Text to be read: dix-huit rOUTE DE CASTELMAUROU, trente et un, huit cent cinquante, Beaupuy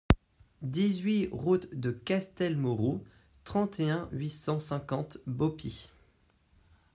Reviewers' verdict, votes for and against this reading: rejected, 0, 2